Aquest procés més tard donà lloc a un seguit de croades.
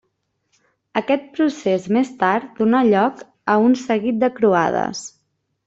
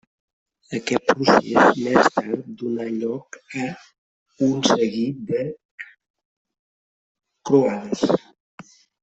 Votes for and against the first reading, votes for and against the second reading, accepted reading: 3, 0, 0, 2, first